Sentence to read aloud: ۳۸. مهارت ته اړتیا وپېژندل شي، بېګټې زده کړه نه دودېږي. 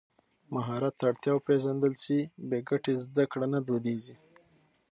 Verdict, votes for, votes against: rejected, 0, 2